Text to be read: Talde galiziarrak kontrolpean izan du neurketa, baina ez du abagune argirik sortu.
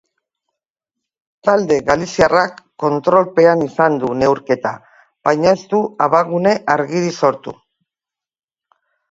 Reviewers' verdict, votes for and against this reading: accepted, 2, 0